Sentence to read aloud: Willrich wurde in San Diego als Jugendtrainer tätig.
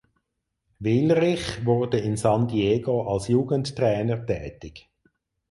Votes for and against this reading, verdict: 4, 0, accepted